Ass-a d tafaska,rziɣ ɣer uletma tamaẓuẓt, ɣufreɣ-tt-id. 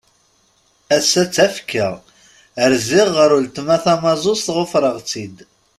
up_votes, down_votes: 1, 2